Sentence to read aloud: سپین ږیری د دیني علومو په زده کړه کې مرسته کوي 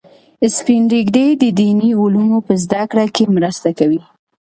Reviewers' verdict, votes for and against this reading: accepted, 2, 1